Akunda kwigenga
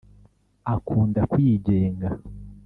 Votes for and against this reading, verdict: 1, 2, rejected